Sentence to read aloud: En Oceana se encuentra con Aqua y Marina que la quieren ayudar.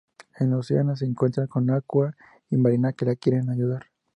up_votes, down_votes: 2, 0